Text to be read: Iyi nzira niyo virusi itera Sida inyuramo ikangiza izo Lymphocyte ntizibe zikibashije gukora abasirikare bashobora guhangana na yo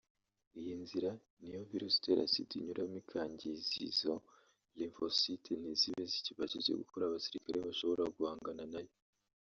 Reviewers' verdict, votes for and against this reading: rejected, 1, 2